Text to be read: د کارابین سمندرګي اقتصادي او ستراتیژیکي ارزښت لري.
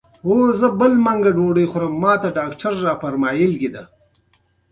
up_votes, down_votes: 2, 0